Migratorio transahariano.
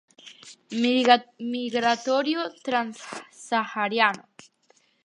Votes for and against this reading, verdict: 2, 4, rejected